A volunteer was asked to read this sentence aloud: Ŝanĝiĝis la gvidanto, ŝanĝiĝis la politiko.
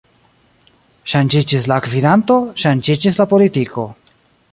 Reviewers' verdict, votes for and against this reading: accepted, 2, 0